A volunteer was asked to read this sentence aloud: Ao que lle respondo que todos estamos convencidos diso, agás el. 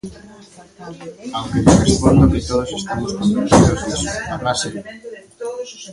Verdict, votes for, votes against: rejected, 0, 2